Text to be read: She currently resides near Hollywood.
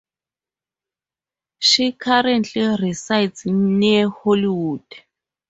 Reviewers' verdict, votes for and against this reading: accepted, 4, 0